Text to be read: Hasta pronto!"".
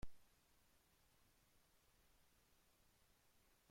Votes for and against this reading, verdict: 0, 2, rejected